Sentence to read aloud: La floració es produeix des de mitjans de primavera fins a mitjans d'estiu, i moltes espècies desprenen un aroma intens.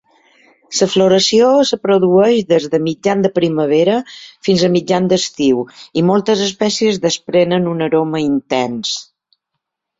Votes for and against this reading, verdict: 1, 2, rejected